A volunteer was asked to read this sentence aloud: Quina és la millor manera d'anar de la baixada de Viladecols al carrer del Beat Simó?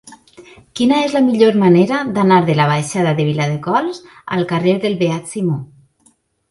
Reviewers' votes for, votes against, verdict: 2, 0, accepted